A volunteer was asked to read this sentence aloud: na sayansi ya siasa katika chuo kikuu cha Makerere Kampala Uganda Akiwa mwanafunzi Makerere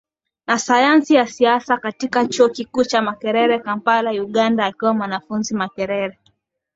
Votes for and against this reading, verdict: 14, 2, accepted